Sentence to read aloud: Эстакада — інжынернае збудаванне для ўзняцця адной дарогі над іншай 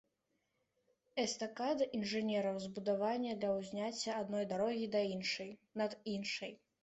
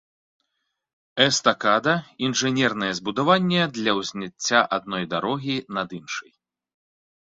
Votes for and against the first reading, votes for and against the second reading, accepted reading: 0, 2, 3, 0, second